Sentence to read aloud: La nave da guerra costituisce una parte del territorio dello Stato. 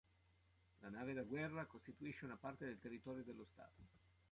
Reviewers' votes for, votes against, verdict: 2, 1, accepted